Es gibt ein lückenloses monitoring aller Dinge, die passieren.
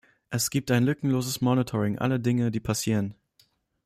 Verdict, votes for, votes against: accepted, 2, 0